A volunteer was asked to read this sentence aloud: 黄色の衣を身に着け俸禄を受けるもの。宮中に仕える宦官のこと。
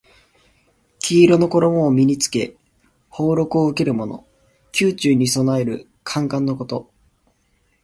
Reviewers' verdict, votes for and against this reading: rejected, 1, 2